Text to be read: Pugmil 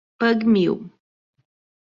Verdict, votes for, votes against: accepted, 2, 0